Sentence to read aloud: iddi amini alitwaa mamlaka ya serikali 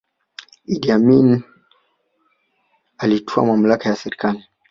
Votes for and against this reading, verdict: 1, 2, rejected